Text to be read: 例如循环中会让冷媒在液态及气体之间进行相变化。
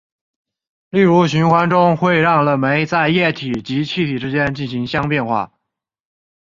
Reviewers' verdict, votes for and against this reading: rejected, 0, 2